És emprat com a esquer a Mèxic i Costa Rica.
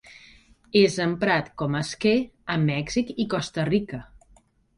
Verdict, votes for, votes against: accepted, 2, 0